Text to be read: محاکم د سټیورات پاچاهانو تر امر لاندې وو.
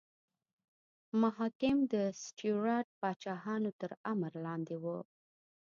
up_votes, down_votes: 3, 1